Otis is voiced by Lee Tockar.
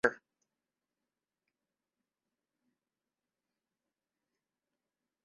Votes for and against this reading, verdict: 0, 2, rejected